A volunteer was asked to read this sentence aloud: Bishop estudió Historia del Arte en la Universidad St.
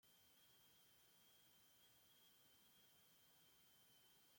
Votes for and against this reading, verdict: 0, 2, rejected